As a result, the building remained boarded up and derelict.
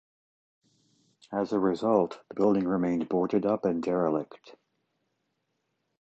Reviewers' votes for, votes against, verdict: 2, 0, accepted